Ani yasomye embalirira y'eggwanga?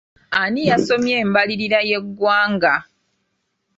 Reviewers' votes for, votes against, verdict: 2, 1, accepted